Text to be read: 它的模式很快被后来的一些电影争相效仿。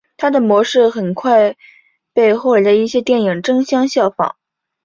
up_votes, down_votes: 2, 0